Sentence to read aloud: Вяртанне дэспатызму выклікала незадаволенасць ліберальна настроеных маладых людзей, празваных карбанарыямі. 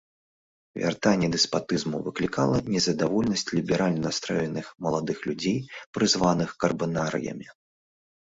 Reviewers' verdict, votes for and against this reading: rejected, 0, 2